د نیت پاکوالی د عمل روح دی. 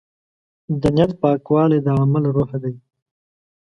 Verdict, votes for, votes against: accepted, 2, 0